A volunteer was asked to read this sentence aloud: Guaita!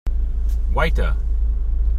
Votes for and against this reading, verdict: 3, 0, accepted